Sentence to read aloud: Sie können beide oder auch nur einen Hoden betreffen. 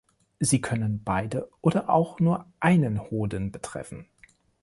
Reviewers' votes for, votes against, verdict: 2, 0, accepted